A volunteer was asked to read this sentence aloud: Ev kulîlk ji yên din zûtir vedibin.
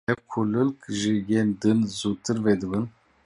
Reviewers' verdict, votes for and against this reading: rejected, 1, 2